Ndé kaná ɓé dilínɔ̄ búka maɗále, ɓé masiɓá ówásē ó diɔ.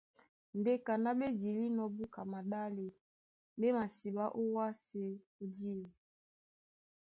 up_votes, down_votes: 2, 0